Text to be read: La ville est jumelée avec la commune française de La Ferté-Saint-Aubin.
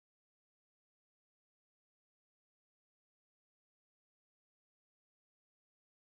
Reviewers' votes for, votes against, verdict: 0, 2, rejected